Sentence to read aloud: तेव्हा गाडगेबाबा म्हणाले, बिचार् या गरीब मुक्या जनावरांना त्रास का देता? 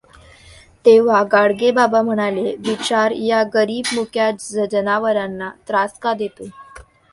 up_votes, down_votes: 0, 2